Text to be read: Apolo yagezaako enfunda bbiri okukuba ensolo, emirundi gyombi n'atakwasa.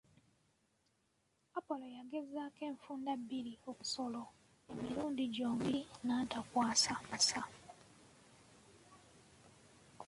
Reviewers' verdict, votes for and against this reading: rejected, 1, 2